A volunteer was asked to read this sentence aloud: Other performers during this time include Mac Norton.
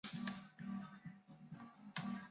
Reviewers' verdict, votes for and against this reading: rejected, 0, 2